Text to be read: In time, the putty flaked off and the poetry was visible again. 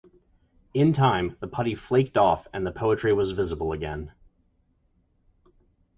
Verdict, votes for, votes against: accepted, 2, 0